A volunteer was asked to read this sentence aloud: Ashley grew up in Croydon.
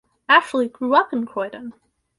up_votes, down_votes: 2, 2